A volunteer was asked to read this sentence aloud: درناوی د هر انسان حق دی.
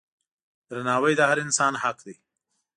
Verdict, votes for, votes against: accepted, 2, 0